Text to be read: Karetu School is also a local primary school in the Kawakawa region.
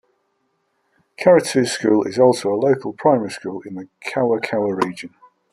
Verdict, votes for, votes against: accepted, 2, 0